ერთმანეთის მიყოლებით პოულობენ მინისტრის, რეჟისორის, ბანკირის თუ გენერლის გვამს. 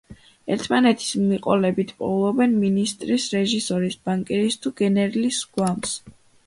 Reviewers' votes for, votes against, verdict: 2, 0, accepted